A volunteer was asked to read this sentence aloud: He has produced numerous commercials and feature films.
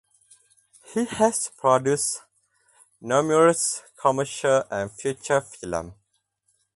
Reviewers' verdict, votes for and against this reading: rejected, 0, 2